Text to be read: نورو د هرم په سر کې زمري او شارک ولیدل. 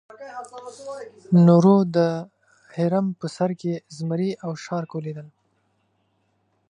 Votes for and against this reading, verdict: 2, 1, accepted